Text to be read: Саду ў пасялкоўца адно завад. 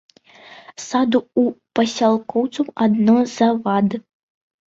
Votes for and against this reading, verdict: 0, 2, rejected